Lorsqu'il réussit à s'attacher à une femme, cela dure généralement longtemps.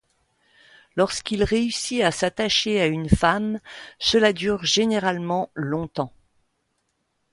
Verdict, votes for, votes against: accepted, 2, 0